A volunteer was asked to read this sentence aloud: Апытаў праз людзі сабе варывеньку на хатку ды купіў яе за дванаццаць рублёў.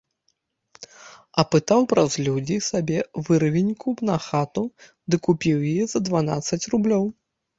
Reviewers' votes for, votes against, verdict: 1, 2, rejected